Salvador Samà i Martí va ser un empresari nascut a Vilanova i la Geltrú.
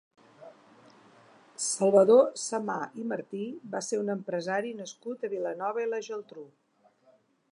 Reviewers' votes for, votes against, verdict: 2, 0, accepted